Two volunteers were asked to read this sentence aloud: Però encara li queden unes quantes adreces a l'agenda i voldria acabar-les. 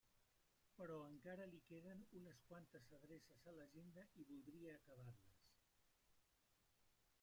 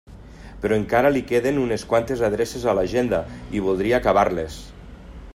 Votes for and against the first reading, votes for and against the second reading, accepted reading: 0, 2, 3, 0, second